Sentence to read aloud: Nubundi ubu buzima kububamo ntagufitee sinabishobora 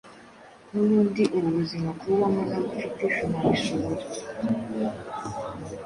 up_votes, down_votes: 2, 0